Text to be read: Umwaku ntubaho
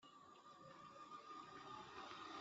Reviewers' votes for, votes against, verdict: 0, 2, rejected